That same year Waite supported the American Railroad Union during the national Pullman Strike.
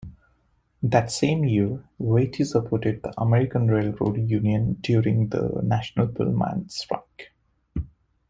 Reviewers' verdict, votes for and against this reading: rejected, 1, 2